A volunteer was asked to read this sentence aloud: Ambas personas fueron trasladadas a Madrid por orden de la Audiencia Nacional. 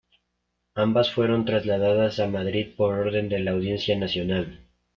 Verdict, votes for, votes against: rejected, 0, 2